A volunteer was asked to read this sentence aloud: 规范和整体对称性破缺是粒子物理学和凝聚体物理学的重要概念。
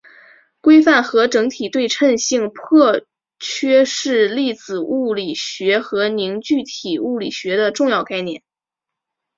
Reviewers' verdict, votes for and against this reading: accepted, 2, 0